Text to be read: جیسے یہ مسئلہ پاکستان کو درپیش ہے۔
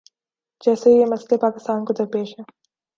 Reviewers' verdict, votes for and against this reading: accepted, 2, 0